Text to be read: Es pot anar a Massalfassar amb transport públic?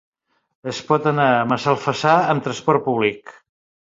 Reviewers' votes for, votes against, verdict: 1, 2, rejected